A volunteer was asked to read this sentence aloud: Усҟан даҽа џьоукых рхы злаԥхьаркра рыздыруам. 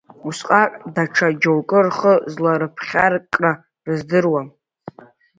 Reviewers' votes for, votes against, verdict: 2, 3, rejected